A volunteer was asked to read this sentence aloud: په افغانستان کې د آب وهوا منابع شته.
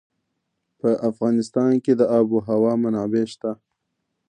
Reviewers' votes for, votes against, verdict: 2, 1, accepted